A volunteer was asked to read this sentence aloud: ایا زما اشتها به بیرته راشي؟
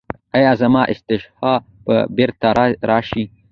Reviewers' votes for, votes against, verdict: 1, 2, rejected